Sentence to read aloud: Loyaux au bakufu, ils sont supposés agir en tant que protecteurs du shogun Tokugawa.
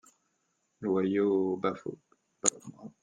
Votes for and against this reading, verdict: 0, 2, rejected